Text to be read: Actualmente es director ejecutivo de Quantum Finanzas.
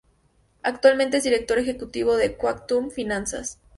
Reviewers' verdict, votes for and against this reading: accepted, 2, 0